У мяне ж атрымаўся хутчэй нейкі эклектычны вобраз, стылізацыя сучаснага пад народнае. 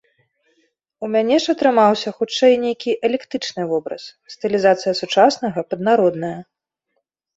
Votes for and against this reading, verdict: 0, 2, rejected